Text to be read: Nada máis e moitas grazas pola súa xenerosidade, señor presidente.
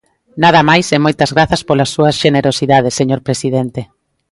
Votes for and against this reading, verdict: 2, 0, accepted